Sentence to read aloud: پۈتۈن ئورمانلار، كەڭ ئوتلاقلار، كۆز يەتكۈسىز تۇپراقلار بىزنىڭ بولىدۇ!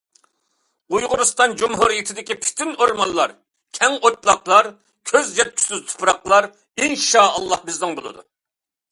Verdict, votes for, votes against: rejected, 0, 2